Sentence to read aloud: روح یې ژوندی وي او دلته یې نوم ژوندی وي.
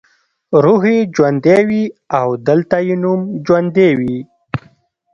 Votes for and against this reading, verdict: 1, 2, rejected